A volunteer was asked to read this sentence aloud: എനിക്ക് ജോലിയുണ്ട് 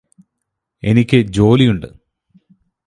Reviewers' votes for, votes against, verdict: 4, 0, accepted